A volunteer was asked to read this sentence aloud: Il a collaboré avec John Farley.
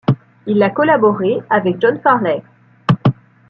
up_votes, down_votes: 2, 0